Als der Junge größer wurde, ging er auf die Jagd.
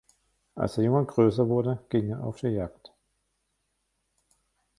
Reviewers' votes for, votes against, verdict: 1, 2, rejected